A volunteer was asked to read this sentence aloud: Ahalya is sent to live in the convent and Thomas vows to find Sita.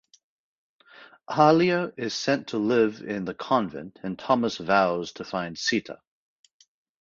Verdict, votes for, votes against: rejected, 2, 2